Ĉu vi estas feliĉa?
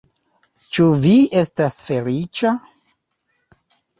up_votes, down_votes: 3, 2